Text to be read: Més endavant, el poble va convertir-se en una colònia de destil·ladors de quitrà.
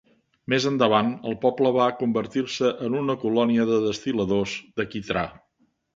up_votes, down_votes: 2, 0